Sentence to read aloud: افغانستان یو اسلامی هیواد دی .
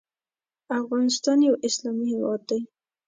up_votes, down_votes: 2, 0